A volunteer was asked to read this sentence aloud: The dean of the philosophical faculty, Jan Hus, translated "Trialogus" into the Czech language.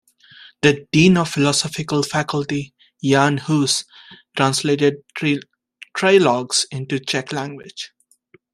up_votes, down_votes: 1, 2